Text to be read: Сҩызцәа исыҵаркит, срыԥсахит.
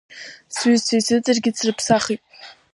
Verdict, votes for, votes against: rejected, 0, 2